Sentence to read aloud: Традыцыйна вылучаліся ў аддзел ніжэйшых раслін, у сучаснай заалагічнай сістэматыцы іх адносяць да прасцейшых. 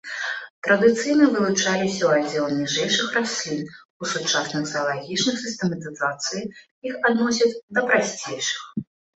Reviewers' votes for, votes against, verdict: 0, 2, rejected